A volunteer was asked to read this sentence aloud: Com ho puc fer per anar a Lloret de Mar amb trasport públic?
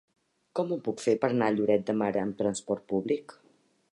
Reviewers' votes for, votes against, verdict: 0, 2, rejected